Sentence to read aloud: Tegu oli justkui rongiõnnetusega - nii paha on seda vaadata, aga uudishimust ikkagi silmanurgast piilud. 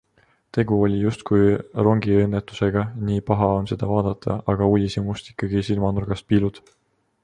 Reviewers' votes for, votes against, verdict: 2, 1, accepted